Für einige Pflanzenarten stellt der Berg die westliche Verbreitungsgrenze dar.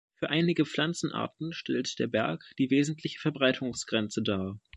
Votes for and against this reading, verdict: 0, 2, rejected